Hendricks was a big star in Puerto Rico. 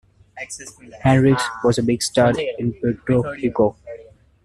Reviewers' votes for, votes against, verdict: 2, 1, accepted